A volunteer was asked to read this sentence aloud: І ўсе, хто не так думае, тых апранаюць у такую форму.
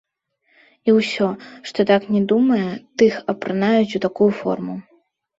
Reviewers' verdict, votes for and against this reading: rejected, 0, 2